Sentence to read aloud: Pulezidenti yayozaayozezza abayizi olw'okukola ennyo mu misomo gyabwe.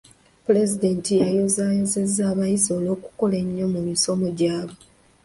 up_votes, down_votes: 2, 1